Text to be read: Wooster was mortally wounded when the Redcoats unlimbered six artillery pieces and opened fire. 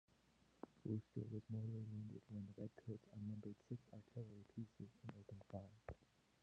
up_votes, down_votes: 0, 2